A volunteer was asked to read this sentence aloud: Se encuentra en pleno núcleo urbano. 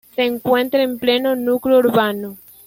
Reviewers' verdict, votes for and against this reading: accepted, 2, 0